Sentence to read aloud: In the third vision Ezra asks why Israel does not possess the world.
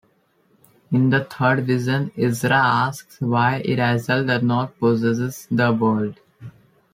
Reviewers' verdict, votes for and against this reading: accepted, 2, 1